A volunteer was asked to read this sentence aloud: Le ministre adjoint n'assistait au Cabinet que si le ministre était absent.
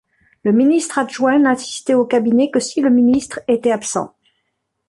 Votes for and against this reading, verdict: 1, 2, rejected